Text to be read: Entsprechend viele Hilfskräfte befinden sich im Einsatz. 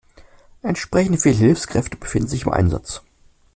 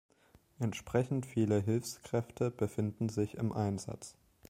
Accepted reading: second